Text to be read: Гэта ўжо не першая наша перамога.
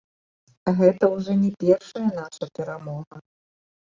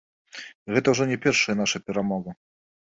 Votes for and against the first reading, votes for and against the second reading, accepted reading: 1, 2, 2, 0, second